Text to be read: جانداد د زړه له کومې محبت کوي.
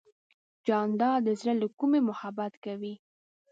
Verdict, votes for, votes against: accepted, 2, 1